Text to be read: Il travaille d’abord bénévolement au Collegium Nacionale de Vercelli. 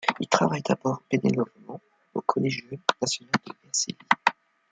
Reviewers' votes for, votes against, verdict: 0, 2, rejected